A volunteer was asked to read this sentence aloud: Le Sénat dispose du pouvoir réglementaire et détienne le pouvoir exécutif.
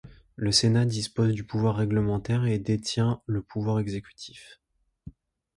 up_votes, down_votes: 1, 2